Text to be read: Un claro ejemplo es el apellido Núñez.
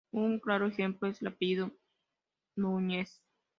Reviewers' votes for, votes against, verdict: 2, 0, accepted